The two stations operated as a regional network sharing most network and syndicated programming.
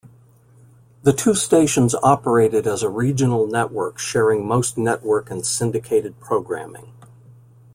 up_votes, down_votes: 2, 0